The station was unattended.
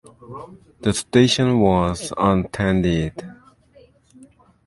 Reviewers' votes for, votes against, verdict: 0, 2, rejected